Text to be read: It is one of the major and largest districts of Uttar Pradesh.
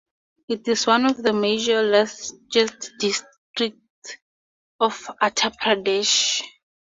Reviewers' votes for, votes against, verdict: 0, 2, rejected